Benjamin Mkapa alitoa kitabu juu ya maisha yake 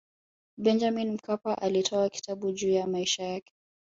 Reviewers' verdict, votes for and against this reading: rejected, 1, 2